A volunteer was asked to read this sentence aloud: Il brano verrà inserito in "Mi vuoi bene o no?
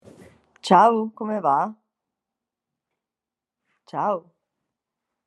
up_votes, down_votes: 1, 3